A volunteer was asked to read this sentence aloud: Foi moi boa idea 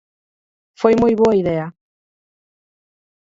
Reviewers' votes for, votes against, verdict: 46, 8, accepted